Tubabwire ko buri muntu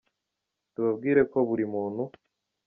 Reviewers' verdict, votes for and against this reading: accepted, 2, 0